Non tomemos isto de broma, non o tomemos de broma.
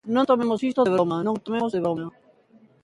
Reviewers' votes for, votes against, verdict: 0, 2, rejected